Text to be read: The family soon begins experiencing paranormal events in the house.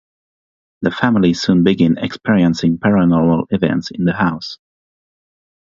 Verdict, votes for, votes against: rejected, 0, 3